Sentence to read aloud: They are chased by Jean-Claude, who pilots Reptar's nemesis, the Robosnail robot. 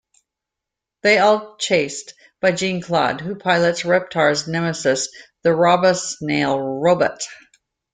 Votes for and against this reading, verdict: 1, 2, rejected